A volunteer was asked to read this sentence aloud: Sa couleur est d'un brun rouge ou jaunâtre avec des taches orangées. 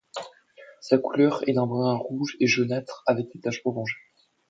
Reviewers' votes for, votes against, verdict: 1, 2, rejected